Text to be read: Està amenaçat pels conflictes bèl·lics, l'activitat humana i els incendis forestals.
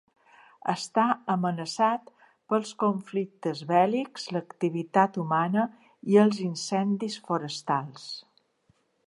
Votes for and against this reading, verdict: 3, 0, accepted